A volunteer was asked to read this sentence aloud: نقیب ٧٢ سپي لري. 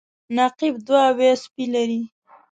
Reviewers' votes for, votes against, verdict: 0, 2, rejected